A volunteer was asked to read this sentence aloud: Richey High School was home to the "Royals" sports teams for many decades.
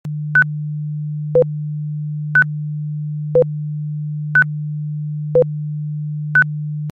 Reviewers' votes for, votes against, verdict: 0, 2, rejected